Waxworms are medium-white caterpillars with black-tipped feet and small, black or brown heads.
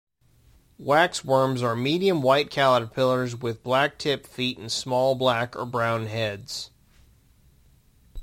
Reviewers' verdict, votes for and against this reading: accepted, 2, 0